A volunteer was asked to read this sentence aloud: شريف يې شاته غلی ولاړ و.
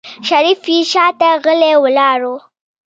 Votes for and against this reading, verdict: 2, 0, accepted